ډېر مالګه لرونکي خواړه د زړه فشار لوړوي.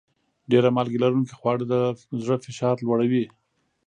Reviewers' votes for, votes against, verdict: 2, 0, accepted